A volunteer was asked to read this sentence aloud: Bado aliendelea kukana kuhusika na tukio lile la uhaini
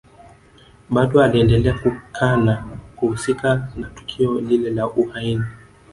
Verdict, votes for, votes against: accepted, 2, 1